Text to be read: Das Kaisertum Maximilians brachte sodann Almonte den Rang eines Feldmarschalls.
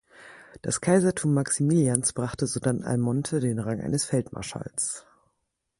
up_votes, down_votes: 4, 0